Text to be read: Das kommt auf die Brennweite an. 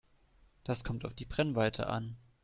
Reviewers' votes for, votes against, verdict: 2, 0, accepted